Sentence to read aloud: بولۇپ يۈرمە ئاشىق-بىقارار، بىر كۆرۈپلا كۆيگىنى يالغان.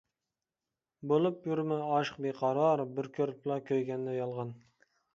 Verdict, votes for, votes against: rejected, 1, 2